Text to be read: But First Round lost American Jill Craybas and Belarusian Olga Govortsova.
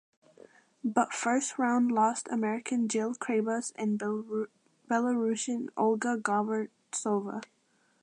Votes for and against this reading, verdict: 0, 2, rejected